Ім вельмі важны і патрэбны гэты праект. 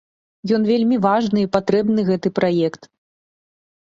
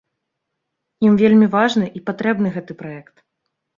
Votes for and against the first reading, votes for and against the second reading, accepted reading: 1, 2, 3, 0, second